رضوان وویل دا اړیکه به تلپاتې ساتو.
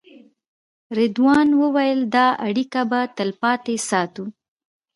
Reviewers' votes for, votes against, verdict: 3, 0, accepted